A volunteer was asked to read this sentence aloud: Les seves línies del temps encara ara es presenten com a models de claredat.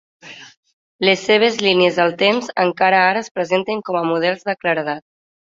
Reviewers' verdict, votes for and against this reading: accepted, 3, 1